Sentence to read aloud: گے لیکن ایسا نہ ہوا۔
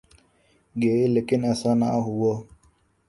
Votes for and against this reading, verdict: 4, 1, accepted